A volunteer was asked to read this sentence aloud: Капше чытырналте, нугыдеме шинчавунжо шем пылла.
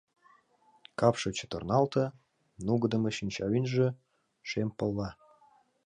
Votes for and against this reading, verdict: 1, 2, rejected